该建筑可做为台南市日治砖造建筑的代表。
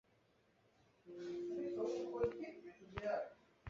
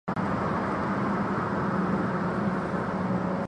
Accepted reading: first